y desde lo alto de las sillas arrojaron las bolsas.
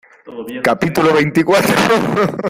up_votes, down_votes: 0, 2